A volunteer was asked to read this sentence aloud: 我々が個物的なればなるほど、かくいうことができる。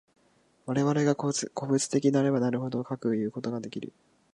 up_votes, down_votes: 0, 2